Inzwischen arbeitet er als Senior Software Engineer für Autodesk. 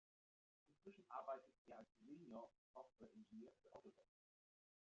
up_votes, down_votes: 0, 2